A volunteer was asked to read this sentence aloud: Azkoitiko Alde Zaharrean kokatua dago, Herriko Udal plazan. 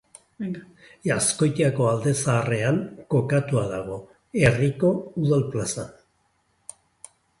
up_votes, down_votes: 0, 2